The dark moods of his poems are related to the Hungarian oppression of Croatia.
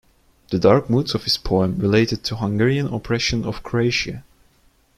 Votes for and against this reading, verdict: 0, 2, rejected